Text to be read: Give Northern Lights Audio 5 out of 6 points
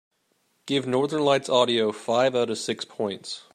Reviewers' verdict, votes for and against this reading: rejected, 0, 2